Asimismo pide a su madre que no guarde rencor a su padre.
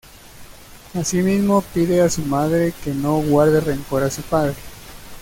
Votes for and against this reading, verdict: 2, 0, accepted